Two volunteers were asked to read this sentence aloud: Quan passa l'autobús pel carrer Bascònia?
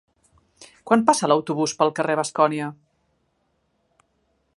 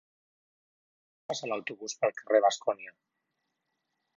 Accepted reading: first